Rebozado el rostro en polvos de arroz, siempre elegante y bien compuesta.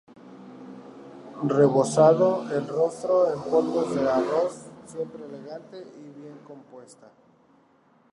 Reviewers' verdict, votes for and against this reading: accepted, 4, 0